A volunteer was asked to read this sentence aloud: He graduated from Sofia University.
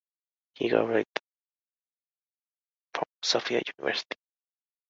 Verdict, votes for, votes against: rejected, 0, 2